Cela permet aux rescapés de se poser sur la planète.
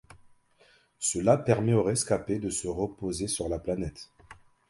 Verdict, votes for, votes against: rejected, 0, 2